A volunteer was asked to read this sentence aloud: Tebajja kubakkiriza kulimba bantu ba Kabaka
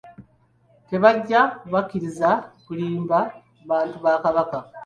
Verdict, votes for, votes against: accepted, 2, 0